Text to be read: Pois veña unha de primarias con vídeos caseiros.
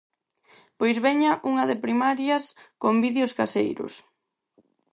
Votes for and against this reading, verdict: 4, 0, accepted